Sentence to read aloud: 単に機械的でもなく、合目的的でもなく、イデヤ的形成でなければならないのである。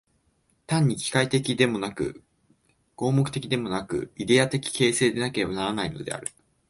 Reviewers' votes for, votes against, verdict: 2, 1, accepted